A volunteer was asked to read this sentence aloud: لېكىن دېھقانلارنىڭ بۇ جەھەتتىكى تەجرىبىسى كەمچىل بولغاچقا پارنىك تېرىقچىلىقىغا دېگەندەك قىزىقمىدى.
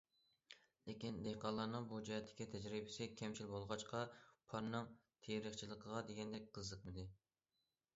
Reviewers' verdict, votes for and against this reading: rejected, 0, 2